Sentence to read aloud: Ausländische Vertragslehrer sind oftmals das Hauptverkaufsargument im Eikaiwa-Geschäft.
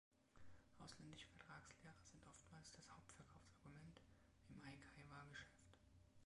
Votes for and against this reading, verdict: 1, 2, rejected